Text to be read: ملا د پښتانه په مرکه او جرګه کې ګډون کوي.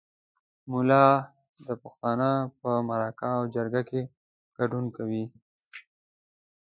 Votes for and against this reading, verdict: 2, 0, accepted